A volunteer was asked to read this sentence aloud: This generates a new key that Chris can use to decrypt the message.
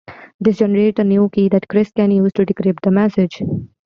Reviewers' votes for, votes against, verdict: 0, 2, rejected